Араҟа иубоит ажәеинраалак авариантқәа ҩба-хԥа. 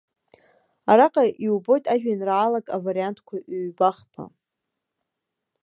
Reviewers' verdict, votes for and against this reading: accepted, 2, 0